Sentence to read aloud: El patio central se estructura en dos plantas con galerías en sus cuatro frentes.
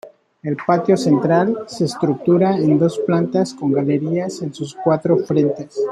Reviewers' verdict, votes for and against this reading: rejected, 1, 2